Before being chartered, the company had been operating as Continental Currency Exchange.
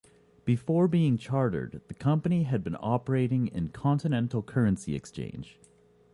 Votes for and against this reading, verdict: 0, 2, rejected